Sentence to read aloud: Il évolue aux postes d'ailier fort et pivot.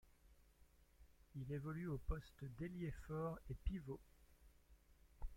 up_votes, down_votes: 1, 2